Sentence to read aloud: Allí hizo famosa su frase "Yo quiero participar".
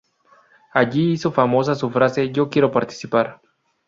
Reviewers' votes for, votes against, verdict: 0, 2, rejected